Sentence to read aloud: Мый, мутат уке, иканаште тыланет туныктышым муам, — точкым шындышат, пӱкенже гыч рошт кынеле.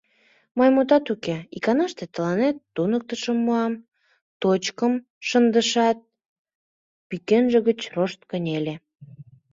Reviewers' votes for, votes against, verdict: 2, 0, accepted